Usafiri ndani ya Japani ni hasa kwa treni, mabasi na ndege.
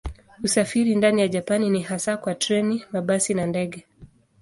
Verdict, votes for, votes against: accepted, 2, 0